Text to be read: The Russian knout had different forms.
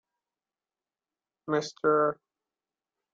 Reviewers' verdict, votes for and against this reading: rejected, 0, 3